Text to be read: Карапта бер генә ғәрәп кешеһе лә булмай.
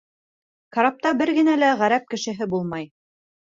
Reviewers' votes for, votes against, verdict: 3, 2, accepted